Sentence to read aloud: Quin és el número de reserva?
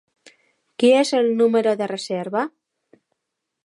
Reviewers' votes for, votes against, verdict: 1, 2, rejected